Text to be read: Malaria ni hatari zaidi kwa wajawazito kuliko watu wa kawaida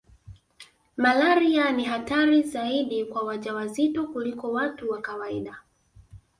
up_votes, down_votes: 0, 2